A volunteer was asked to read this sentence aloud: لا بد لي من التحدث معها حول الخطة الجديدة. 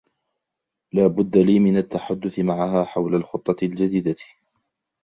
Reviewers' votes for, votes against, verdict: 1, 2, rejected